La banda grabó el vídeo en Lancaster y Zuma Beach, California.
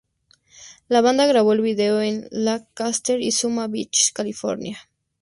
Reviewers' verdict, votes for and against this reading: accepted, 4, 0